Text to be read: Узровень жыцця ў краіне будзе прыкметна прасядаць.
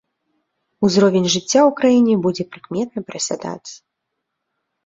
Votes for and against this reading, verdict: 2, 0, accepted